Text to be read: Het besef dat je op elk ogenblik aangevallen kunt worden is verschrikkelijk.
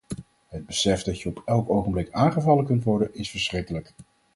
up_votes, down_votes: 4, 0